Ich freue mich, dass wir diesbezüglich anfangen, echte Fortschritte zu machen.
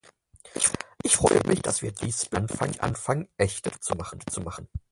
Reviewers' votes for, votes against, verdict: 0, 4, rejected